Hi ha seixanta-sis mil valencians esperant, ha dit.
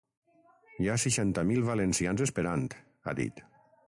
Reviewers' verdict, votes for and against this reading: rejected, 3, 6